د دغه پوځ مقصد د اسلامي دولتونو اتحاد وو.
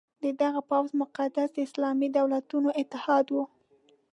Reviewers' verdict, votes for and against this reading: accepted, 2, 0